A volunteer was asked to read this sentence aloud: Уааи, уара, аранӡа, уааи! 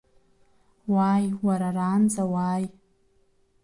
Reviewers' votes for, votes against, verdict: 1, 2, rejected